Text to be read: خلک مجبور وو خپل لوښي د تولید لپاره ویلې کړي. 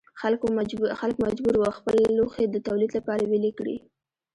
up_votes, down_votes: 1, 2